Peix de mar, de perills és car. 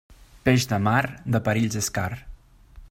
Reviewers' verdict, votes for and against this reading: accepted, 2, 0